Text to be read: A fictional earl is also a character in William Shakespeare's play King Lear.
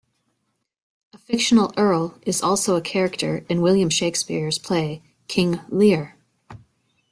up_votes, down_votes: 2, 0